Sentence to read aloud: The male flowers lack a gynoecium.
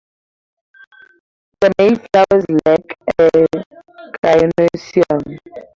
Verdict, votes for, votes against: rejected, 0, 8